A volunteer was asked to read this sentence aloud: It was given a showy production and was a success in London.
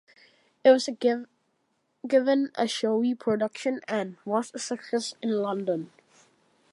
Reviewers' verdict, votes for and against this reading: rejected, 0, 2